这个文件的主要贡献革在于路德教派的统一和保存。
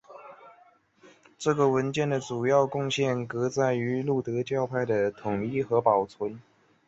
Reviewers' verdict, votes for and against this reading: accepted, 2, 0